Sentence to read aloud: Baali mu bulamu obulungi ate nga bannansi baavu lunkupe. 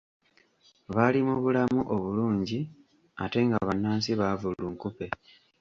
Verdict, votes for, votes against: accepted, 2, 0